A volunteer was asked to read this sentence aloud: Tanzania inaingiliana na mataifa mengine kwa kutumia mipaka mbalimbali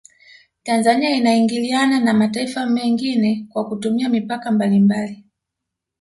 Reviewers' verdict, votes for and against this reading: rejected, 1, 2